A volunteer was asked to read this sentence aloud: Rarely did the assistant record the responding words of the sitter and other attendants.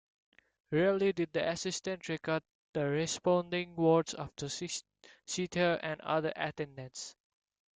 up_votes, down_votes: 1, 2